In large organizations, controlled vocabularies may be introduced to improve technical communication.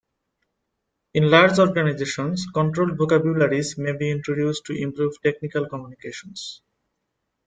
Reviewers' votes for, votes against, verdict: 1, 2, rejected